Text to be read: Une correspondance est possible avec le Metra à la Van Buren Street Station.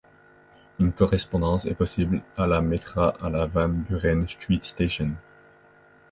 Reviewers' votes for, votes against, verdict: 0, 3, rejected